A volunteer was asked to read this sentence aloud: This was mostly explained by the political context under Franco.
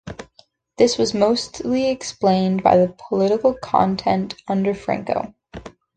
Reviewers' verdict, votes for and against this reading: rejected, 0, 2